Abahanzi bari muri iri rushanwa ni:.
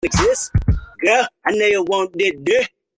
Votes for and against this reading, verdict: 0, 3, rejected